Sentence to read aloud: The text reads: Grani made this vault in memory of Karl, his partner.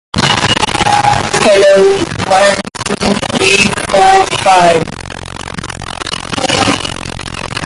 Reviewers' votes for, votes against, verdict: 0, 2, rejected